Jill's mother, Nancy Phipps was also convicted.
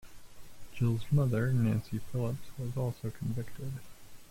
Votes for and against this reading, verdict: 0, 2, rejected